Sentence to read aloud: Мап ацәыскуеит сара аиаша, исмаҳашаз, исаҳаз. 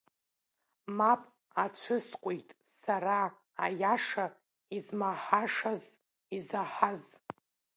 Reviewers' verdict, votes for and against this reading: rejected, 0, 2